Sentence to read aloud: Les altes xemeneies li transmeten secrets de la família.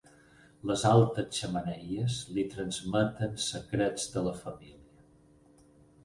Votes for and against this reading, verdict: 6, 2, accepted